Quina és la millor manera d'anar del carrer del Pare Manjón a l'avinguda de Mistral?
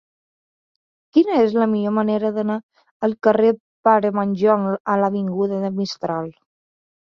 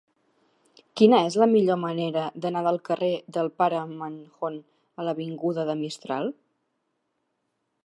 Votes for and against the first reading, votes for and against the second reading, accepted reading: 2, 3, 3, 0, second